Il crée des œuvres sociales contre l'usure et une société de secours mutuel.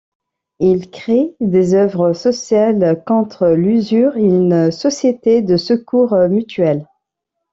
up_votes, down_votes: 1, 2